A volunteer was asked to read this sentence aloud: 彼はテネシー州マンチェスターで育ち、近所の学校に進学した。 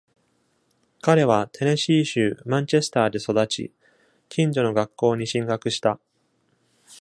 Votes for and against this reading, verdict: 2, 0, accepted